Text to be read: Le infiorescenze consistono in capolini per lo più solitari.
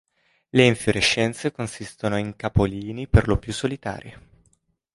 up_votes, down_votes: 2, 0